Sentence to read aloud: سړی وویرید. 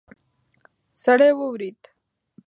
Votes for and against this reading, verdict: 0, 2, rejected